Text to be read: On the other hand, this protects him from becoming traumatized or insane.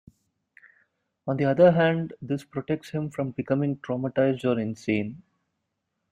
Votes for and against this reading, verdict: 2, 1, accepted